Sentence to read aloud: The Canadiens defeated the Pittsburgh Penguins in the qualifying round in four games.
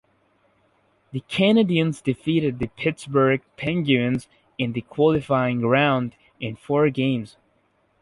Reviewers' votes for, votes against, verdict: 2, 0, accepted